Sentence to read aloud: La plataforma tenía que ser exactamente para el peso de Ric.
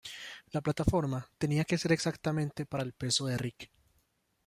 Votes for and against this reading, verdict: 2, 0, accepted